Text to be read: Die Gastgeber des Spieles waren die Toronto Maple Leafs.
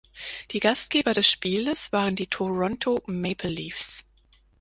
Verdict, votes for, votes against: accepted, 4, 0